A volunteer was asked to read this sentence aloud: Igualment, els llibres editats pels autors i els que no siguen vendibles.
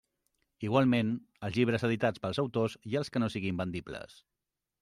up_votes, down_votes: 0, 2